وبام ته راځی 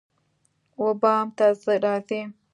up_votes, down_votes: 2, 0